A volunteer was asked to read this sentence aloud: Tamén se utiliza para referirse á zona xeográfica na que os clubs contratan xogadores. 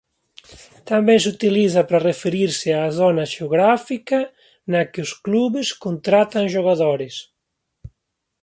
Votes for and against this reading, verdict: 2, 0, accepted